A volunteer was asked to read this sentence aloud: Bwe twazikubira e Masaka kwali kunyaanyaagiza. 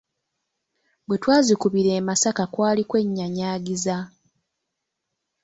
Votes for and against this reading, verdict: 1, 2, rejected